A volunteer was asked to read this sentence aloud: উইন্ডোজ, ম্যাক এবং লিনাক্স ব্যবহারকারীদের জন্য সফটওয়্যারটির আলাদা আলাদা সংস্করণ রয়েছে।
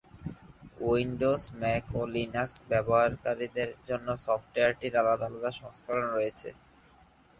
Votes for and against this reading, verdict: 1, 2, rejected